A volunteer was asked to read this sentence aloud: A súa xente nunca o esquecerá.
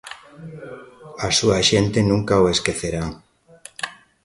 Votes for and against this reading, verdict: 2, 0, accepted